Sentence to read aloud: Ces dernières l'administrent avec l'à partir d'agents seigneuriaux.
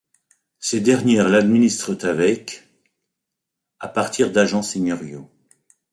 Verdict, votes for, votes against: rejected, 1, 2